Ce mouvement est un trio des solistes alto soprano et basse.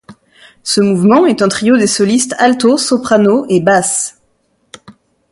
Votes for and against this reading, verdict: 2, 0, accepted